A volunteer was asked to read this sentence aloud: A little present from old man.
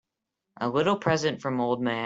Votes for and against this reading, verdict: 0, 2, rejected